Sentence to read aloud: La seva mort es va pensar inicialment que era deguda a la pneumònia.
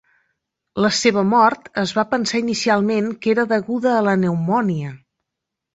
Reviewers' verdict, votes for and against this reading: accepted, 2, 0